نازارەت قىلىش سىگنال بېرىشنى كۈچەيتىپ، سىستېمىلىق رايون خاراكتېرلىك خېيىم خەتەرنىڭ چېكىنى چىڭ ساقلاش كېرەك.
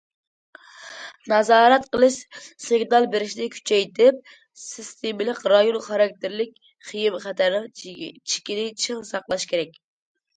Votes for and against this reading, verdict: 1, 2, rejected